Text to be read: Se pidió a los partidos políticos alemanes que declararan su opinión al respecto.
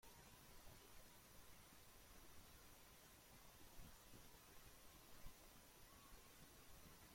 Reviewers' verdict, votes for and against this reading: rejected, 0, 2